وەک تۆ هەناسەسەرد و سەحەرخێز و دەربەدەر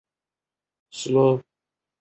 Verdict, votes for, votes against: rejected, 0, 2